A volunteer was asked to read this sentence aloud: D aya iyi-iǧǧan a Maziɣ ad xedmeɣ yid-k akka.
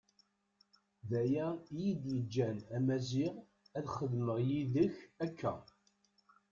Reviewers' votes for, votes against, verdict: 1, 2, rejected